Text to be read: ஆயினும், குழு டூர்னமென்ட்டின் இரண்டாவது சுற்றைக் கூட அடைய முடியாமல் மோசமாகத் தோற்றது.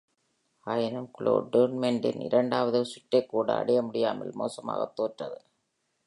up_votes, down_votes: 1, 2